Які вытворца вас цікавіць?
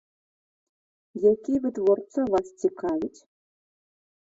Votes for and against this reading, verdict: 1, 2, rejected